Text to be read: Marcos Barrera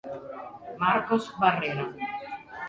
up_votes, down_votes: 2, 1